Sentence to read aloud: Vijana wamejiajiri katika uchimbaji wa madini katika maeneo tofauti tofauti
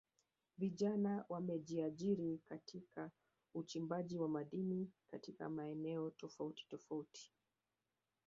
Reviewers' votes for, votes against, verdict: 1, 2, rejected